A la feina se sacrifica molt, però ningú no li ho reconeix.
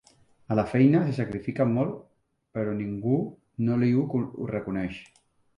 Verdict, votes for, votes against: rejected, 0, 2